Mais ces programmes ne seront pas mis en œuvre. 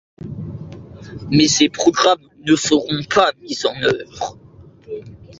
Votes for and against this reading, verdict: 2, 0, accepted